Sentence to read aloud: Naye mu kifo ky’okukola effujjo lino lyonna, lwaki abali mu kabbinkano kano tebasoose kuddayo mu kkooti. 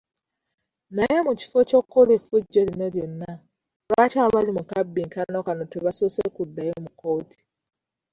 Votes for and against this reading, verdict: 0, 2, rejected